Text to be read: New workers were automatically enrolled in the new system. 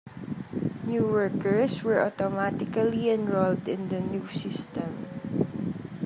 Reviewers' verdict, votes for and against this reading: accepted, 2, 0